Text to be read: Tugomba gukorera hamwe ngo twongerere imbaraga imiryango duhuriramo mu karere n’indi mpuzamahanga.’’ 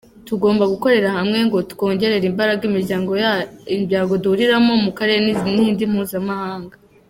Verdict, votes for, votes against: rejected, 1, 2